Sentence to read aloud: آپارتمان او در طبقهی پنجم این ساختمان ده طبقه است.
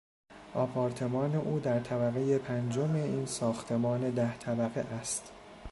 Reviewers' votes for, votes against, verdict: 2, 0, accepted